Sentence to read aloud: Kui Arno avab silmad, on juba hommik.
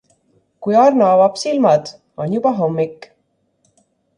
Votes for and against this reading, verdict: 2, 0, accepted